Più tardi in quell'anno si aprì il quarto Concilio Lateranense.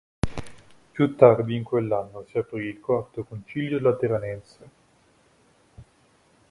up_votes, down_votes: 3, 0